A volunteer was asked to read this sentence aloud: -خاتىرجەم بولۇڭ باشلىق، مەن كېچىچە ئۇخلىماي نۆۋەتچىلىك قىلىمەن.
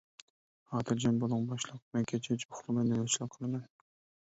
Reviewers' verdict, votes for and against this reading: rejected, 0, 2